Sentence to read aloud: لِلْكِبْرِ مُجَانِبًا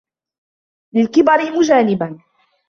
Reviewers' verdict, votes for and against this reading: rejected, 1, 2